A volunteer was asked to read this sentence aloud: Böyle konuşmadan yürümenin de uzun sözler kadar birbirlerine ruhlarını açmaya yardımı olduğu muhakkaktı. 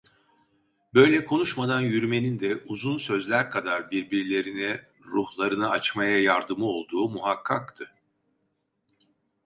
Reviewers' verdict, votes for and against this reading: accepted, 2, 0